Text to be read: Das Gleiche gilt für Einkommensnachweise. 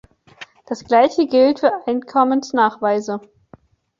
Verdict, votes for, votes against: accepted, 2, 0